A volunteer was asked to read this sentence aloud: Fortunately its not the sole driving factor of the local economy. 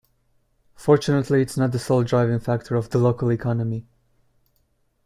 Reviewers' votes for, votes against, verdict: 2, 0, accepted